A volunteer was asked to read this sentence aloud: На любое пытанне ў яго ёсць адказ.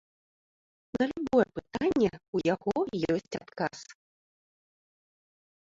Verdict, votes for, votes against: accepted, 2, 0